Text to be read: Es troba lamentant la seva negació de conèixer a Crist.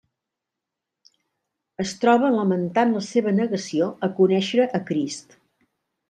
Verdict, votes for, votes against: rejected, 0, 2